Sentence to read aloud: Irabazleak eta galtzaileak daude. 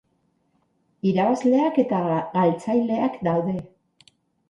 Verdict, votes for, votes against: rejected, 2, 6